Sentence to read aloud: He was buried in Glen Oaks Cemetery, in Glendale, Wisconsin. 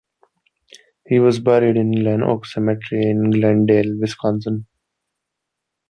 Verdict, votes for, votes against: accepted, 2, 0